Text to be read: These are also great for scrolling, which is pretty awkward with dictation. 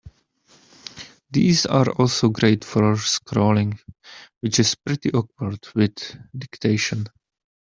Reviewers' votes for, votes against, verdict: 1, 2, rejected